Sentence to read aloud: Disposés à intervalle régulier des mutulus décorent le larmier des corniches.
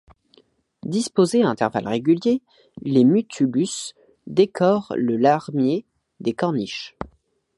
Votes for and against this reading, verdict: 1, 2, rejected